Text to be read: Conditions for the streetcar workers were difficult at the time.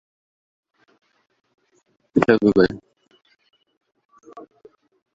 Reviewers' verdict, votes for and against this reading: rejected, 0, 2